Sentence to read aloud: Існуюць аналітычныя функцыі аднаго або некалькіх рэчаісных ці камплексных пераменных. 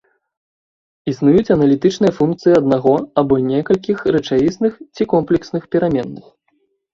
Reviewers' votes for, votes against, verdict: 2, 0, accepted